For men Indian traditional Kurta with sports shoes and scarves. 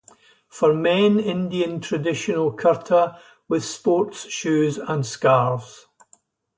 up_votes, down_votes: 2, 2